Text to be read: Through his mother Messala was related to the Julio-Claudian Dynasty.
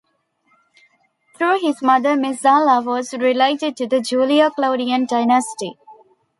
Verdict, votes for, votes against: accepted, 2, 0